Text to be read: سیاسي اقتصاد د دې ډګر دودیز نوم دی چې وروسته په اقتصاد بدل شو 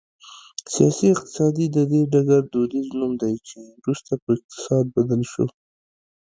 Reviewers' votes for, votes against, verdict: 2, 0, accepted